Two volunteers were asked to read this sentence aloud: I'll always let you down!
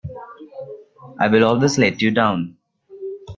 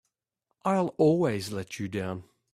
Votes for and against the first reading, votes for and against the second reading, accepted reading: 0, 2, 2, 0, second